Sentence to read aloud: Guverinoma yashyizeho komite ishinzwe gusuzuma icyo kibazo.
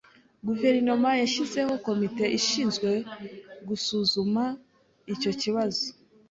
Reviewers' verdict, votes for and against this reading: accepted, 2, 0